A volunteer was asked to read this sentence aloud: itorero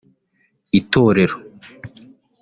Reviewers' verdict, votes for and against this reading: accepted, 2, 0